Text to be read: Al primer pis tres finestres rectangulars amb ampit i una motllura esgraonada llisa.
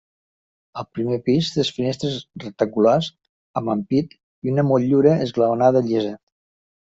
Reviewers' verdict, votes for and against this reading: rejected, 0, 2